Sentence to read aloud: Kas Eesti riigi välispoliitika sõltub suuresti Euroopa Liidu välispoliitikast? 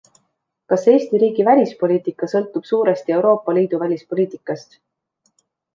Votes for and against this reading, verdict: 2, 0, accepted